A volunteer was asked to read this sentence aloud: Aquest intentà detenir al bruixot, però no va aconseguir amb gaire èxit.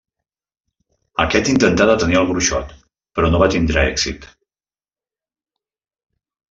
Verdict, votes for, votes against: rejected, 0, 2